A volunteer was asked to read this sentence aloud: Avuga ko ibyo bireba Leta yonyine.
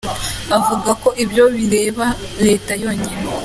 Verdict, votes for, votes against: accepted, 2, 1